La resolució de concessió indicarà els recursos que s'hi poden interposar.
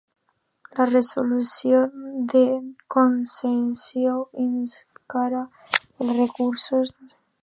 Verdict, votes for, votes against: rejected, 1, 2